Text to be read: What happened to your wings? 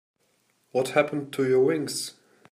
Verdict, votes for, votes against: accepted, 3, 0